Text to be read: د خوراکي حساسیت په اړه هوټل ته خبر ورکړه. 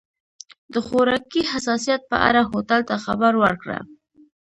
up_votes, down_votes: 1, 2